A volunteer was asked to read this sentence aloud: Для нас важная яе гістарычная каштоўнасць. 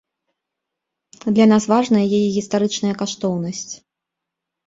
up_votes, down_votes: 1, 2